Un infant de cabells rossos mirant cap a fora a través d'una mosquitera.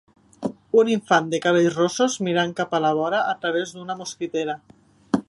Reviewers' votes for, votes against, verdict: 0, 3, rejected